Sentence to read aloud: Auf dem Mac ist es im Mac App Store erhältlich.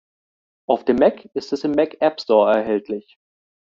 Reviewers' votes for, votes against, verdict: 2, 0, accepted